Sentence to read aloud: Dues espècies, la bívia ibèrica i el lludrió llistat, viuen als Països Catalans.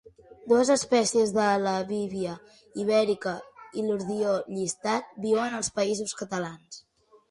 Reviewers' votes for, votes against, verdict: 0, 2, rejected